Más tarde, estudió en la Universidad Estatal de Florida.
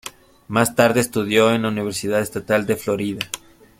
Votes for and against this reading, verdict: 2, 0, accepted